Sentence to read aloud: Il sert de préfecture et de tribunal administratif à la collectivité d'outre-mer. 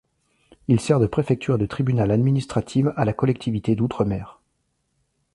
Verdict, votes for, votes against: rejected, 0, 2